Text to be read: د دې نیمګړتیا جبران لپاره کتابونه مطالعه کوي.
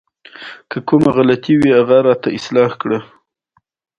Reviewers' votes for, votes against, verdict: 2, 0, accepted